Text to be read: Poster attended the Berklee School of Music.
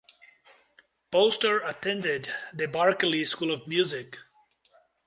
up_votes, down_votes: 2, 0